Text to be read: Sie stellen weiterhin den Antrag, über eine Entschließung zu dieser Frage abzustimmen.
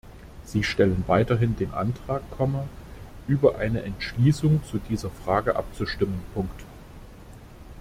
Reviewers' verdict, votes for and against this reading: rejected, 0, 2